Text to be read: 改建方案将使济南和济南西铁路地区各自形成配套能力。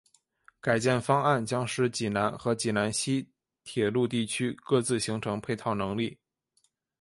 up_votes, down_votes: 3, 0